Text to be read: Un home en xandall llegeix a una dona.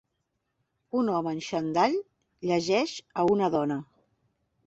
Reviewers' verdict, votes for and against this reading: accepted, 3, 0